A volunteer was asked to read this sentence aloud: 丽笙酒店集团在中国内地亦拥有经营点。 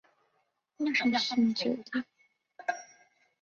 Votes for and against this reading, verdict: 3, 6, rejected